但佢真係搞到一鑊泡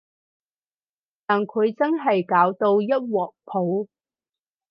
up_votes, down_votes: 4, 0